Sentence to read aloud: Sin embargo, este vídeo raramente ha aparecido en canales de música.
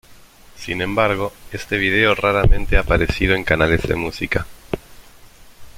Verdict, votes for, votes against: rejected, 1, 2